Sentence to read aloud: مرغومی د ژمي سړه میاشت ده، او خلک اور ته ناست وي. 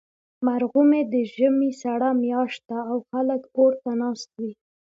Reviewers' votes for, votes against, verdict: 2, 0, accepted